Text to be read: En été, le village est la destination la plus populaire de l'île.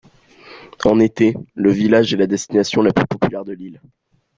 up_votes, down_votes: 1, 2